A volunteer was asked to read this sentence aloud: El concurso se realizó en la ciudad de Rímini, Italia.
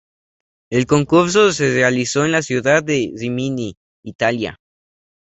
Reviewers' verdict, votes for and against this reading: accepted, 2, 0